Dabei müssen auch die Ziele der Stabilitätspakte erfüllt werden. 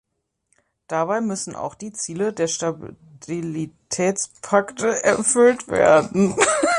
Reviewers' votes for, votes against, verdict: 0, 2, rejected